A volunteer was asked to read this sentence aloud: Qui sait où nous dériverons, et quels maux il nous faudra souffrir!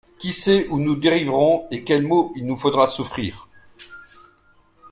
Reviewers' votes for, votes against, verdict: 2, 0, accepted